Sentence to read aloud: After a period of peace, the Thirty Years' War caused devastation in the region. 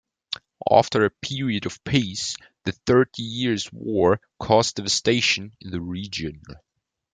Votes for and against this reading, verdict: 1, 2, rejected